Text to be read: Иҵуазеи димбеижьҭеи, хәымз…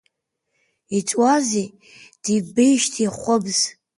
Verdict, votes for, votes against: accepted, 2, 0